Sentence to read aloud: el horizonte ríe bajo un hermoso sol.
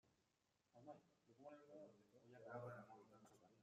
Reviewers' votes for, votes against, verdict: 0, 2, rejected